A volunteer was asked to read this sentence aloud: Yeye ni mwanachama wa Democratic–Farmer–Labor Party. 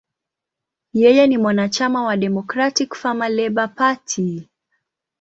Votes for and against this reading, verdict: 1, 2, rejected